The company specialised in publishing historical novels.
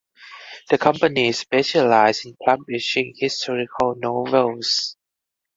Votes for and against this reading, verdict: 0, 4, rejected